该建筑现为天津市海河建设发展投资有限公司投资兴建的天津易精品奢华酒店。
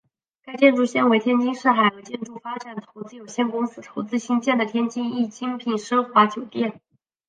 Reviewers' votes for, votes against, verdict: 2, 3, rejected